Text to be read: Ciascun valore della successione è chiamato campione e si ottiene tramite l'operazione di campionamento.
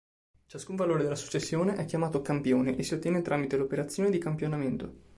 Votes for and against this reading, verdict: 2, 1, accepted